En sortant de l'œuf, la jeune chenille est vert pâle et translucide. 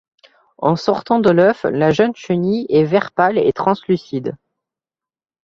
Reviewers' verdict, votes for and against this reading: accepted, 2, 0